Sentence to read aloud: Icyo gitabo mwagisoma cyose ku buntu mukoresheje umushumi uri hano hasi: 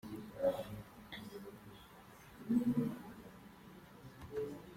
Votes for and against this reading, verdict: 0, 2, rejected